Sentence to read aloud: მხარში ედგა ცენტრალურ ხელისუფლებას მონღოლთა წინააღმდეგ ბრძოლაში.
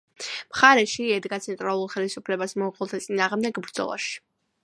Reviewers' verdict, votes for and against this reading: accepted, 2, 0